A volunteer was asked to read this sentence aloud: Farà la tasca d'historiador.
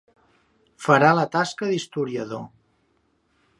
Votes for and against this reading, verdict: 2, 0, accepted